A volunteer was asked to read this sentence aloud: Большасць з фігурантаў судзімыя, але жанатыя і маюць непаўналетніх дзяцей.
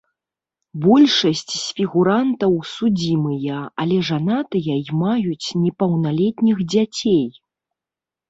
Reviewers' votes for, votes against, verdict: 1, 2, rejected